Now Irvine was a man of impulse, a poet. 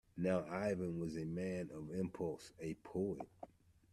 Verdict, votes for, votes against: rejected, 0, 2